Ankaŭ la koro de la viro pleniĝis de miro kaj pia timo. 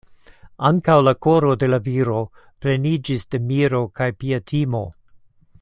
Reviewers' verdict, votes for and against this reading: accepted, 2, 0